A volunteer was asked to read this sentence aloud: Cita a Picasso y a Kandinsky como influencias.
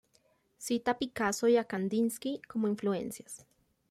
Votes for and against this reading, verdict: 2, 0, accepted